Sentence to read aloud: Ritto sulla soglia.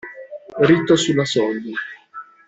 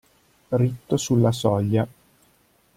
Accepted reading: second